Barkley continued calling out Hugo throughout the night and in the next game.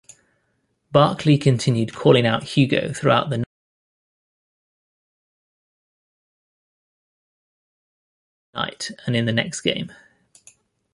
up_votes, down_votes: 1, 2